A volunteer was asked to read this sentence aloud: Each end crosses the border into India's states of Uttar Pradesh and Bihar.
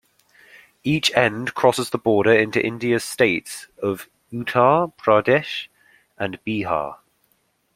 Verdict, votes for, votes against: accepted, 2, 0